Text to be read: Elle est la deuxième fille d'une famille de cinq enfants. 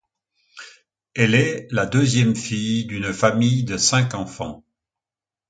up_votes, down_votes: 2, 0